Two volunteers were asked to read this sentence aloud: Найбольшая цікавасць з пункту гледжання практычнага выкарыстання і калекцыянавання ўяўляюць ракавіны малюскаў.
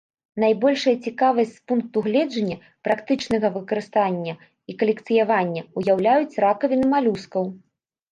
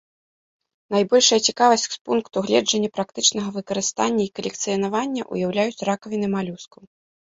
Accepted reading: second